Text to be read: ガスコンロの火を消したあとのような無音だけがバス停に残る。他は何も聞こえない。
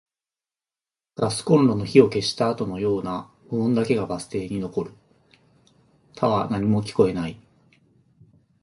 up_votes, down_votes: 1, 2